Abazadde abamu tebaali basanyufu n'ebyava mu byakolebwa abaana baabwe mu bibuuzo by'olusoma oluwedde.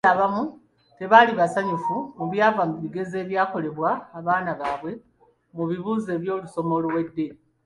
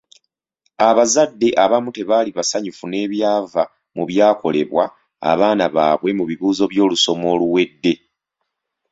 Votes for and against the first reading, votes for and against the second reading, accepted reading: 1, 2, 2, 0, second